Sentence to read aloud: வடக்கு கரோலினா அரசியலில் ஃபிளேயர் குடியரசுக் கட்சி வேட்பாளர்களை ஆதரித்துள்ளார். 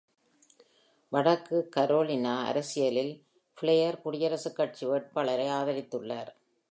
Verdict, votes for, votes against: rejected, 0, 2